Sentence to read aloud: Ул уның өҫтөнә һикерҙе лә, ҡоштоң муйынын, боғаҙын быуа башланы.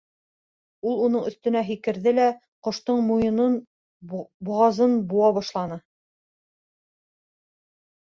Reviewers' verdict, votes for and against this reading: rejected, 2, 3